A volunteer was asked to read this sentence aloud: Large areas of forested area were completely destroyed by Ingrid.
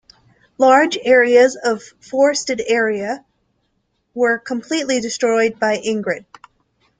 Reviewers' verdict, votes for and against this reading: accepted, 2, 0